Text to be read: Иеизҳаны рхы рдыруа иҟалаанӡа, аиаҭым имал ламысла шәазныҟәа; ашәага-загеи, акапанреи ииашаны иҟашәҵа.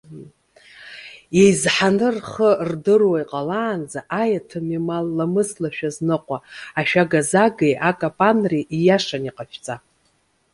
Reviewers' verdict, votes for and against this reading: rejected, 1, 2